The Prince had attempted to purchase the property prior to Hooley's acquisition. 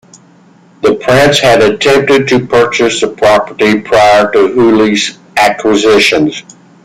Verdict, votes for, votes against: accepted, 2, 1